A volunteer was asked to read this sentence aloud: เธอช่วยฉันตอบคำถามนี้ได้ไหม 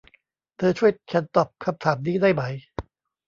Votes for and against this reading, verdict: 2, 0, accepted